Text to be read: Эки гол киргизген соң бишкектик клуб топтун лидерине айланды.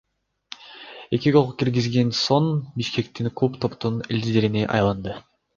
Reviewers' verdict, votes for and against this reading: rejected, 1, 2